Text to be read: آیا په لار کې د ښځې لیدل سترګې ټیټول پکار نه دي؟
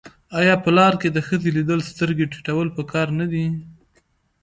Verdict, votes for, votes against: accepted, 2, 1